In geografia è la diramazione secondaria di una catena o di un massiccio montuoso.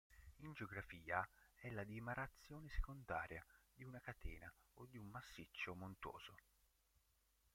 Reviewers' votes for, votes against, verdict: 1, 3, rejected